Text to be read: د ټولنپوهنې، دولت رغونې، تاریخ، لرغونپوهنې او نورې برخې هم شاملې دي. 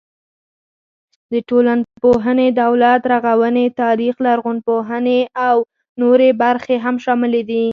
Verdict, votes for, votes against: accepted, 4, 2